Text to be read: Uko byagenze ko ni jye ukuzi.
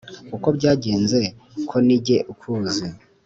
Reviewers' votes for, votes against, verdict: 2, 0, accepted